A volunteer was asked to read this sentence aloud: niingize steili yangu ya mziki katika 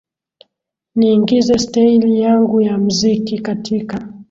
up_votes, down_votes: 2, 0